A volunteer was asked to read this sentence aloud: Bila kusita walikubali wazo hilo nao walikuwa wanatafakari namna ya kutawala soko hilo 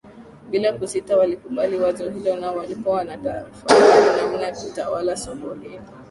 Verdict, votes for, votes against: rejected, 0, 2